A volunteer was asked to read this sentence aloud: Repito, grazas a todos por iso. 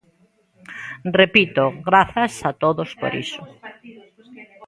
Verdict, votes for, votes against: rejected, 1, 2